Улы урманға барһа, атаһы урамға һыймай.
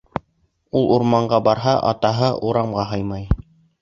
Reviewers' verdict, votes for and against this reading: rejected, 0, 2